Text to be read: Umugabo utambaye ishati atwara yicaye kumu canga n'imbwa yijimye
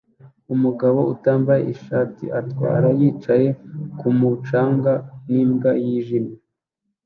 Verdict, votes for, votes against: accepted, 2, 0